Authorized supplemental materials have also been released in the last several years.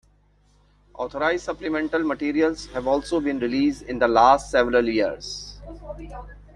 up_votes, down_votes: 3, 2